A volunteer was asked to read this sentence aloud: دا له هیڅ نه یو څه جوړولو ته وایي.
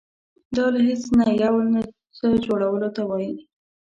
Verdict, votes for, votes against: rejected, 1, 2